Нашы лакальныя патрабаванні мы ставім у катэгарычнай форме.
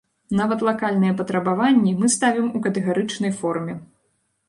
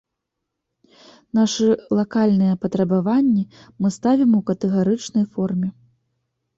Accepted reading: second